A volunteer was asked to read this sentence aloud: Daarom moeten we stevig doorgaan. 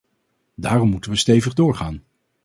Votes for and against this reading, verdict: 4, 0, accepted